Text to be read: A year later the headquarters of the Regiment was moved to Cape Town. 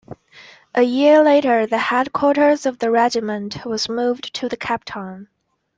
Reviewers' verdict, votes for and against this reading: rejected, 1, 2